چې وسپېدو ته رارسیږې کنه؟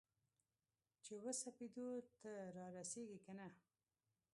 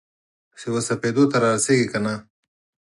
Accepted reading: second